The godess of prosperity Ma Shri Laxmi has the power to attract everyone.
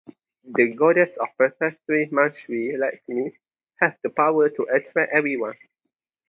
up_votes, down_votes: 0, 2